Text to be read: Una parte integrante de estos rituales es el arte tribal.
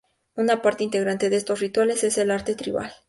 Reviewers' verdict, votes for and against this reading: accepted, 2, 0